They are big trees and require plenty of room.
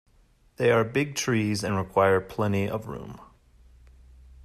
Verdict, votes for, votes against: accepted, 2, 0